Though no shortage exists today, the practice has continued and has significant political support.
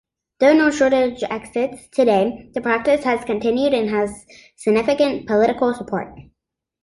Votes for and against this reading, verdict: 3, 0, accepted